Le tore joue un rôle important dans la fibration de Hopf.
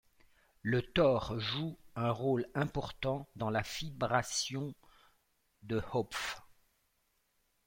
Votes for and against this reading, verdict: 2, 0, accepted